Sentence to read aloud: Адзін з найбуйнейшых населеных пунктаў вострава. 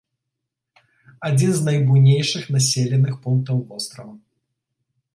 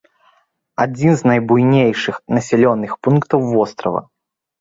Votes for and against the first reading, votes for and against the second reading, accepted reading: 2, 0, 0, 2, first